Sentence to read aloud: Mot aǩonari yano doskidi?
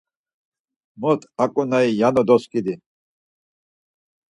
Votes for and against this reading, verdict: 4, 0, accepted